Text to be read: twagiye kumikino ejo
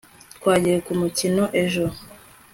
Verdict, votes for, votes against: accepted, 2, 0